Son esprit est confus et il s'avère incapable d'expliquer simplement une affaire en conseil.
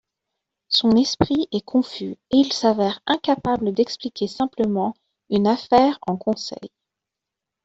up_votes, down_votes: 2, 0